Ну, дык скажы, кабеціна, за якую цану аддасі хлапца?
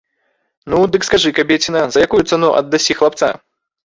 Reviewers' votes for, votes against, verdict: 2, 0, accepted